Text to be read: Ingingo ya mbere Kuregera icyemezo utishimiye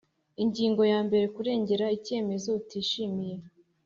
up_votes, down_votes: 2, 0